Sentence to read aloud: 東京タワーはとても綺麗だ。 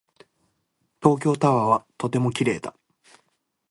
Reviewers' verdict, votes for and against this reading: accepted, 2, 0